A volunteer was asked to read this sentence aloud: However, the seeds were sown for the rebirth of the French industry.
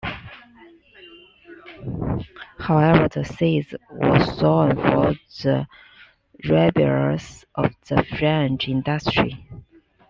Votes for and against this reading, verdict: 1, 2, rejected